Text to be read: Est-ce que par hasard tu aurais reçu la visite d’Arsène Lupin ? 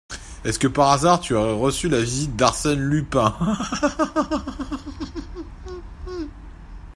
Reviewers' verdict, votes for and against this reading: rejected, 0, 2